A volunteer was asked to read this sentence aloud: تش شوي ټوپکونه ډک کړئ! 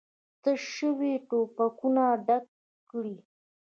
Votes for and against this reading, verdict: 2, 1, accepted